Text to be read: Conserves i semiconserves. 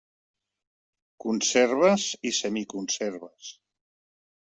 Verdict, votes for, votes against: accepted, 3, 0